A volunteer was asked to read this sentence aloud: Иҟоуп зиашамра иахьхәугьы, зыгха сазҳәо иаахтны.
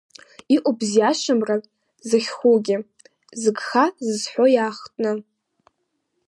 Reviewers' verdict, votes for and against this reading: rejected, 2, 4